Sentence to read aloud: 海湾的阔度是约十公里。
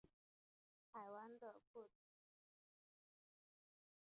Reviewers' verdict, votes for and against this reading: rejected, 0, 2